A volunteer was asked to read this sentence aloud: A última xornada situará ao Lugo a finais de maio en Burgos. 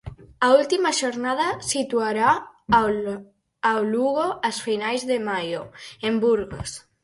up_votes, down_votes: 0, 4